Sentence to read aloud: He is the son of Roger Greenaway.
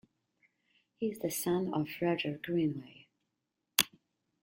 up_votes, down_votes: 1, 2